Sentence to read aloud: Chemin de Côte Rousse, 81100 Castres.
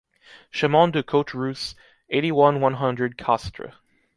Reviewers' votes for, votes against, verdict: 0, 2, rejected